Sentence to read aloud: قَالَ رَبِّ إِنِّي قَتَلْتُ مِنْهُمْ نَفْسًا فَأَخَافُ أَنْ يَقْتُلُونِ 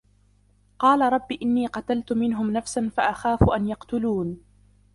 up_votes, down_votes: 0, 2